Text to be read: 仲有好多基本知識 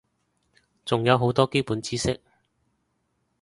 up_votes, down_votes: 2, 0